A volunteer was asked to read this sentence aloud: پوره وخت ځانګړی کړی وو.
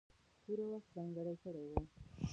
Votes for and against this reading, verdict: 1, 2, rejected